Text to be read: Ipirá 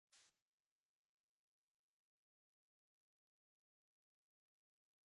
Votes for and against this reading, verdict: 0, 2, rejected